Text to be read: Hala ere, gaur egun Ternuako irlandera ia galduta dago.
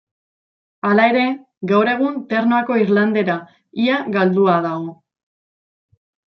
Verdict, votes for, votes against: rejected, 1, 2